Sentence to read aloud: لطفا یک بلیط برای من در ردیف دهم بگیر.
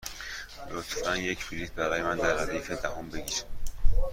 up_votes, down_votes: 2, 0